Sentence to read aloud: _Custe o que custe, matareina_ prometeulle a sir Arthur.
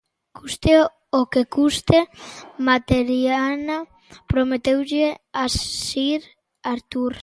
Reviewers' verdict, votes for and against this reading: rejected, 0, 2